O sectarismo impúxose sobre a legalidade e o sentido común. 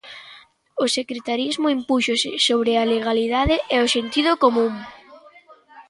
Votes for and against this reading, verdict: 0, 2, rejected